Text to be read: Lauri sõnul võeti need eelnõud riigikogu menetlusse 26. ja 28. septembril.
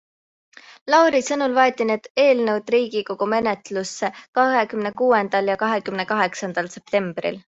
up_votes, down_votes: 0, 2